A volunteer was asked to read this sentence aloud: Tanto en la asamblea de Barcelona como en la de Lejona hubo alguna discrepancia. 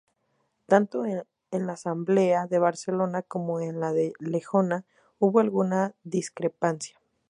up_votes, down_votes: 2, 0